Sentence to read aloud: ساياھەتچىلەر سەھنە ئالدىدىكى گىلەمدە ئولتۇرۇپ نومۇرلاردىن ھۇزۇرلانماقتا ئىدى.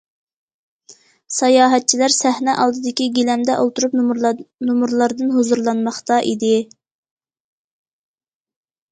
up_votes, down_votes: 0, 2